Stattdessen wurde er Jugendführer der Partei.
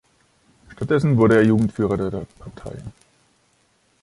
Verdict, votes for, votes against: rejected, 1, 2